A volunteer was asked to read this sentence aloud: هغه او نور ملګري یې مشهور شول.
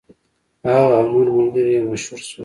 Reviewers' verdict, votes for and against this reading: accepted, 2, 1